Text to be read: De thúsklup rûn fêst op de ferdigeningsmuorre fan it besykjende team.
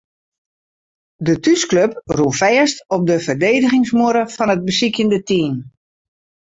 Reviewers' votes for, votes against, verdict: 0, 2, rejected